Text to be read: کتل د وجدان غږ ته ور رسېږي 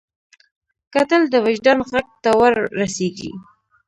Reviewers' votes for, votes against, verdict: 0, 2, rejected